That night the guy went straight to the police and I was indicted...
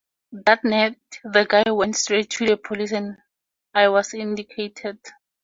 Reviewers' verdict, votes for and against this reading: rejected, 0, 2